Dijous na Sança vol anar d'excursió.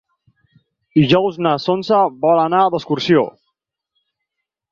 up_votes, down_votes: 6, 0